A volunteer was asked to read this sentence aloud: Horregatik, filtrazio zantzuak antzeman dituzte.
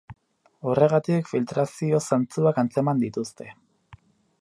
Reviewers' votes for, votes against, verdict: 2, 2, rejected